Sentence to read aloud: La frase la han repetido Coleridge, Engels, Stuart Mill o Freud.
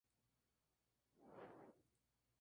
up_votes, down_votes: 0, 2